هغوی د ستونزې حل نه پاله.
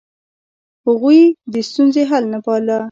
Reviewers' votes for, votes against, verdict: 1, 2, rejected